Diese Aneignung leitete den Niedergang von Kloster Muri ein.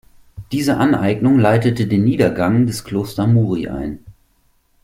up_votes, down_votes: 0, 2